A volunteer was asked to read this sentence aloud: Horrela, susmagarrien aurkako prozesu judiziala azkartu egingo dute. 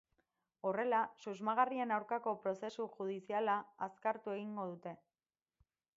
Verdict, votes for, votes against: rejected, 2, 2